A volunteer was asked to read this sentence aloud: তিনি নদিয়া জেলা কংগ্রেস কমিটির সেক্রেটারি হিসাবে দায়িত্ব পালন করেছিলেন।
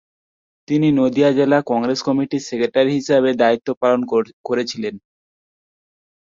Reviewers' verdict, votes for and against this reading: rejected, 1, 2